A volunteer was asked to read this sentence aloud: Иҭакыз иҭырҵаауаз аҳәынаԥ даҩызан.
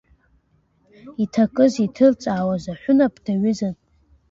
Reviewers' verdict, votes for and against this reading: accepted, 2, 1